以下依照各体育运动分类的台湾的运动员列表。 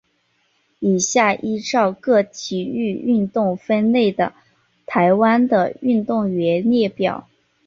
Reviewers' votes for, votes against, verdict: 2, 1, accepted